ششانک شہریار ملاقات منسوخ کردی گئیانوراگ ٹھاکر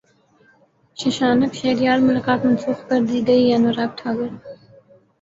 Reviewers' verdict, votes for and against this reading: accepted, 5, 4